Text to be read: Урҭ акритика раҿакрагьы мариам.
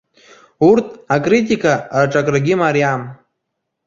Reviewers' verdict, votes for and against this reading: rejected, 1, 2